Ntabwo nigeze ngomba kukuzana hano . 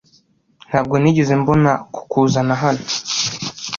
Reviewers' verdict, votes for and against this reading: rejected, 1, 2